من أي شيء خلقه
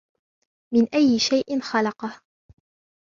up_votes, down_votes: 0, 2